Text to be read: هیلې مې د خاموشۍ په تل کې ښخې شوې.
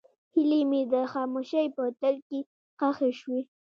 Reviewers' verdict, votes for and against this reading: accepted, 2, 1